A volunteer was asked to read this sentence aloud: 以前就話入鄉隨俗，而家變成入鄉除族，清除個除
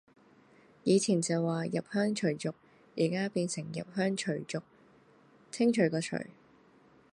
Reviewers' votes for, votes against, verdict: 2, 0, accepted